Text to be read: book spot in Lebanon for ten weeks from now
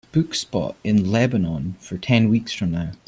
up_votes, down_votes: 2, 0